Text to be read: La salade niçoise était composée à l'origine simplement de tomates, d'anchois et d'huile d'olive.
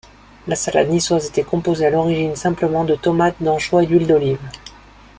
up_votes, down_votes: 0, 2